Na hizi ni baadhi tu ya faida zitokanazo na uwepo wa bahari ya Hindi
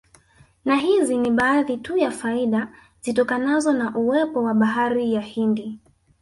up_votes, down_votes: 2, 3